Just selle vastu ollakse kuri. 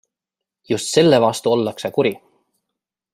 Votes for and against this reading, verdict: 2, 0, accepted